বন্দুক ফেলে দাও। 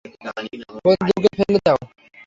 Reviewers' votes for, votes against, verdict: 0, 3, rejected